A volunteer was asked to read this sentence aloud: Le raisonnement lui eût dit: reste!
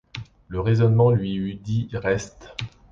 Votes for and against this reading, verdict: 2, 1, accepted